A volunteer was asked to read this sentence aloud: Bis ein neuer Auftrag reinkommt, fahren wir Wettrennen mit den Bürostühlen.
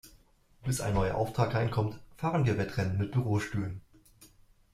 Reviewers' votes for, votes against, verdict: 1, 3, rejected